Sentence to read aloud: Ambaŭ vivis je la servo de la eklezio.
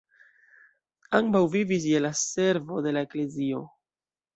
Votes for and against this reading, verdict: 2, 0, accepted